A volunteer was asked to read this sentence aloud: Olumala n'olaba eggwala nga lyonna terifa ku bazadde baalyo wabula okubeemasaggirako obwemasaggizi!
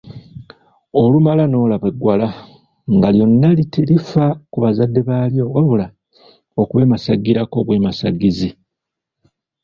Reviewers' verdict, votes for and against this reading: accepted, 2, 0